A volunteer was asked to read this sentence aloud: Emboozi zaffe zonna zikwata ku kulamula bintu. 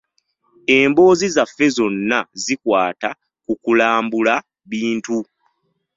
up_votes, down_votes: 2, 0